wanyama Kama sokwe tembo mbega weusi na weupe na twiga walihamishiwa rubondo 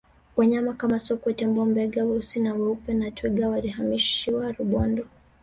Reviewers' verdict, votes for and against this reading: rejected, 1, 2